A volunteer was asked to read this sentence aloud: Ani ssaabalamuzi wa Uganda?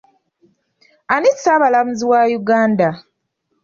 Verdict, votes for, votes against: accepted, 2, 0